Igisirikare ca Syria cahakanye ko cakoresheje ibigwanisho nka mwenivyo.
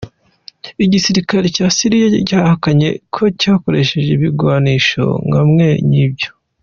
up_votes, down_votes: 2, 0